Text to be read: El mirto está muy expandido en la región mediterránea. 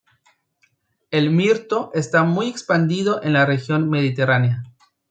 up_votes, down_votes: 2, 0